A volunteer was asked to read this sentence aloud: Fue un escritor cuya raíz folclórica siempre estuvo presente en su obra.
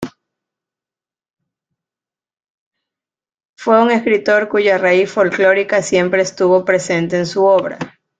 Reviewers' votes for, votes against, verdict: 2, 1, accepted